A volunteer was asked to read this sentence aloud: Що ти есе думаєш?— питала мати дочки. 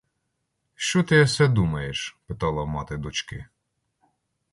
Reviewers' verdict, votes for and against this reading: accepted, 2, 0